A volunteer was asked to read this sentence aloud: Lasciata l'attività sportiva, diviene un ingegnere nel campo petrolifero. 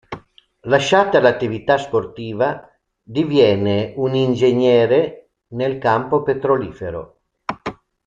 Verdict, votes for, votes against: accepted, 2, 0